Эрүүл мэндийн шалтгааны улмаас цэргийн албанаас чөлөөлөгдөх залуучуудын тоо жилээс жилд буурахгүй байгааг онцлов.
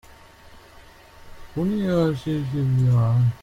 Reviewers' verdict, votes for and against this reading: rejected, 0, 2